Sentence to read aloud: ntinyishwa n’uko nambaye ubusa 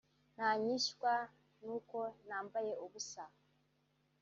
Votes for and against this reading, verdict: 1, 2, rejected